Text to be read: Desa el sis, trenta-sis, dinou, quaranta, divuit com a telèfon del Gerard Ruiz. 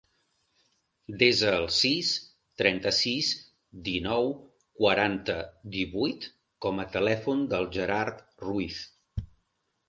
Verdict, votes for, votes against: accepted, 2, 0